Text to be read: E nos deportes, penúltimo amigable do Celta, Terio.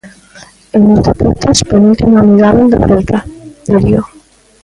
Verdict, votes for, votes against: accepted, 2, 1